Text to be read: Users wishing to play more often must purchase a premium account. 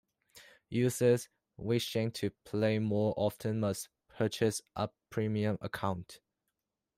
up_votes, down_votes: 2, 1